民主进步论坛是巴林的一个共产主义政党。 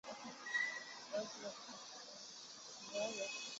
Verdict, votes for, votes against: accepted, 4, 1